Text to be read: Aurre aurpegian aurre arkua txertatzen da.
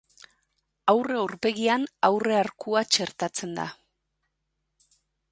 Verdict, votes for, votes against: accepted, 2, 0